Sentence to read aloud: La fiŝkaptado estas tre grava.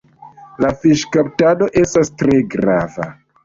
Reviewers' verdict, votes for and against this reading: rejected, 1, 2